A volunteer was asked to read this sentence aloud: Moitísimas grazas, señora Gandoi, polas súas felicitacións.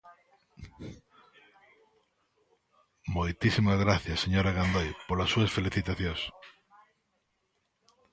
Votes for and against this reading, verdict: 0, 2, rejected